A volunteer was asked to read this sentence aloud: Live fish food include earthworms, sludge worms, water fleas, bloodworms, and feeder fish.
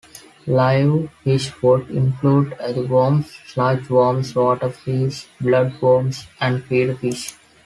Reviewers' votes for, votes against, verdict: 2, 1, accepted